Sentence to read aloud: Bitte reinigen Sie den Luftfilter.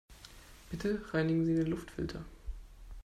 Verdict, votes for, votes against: accepted, 2, 0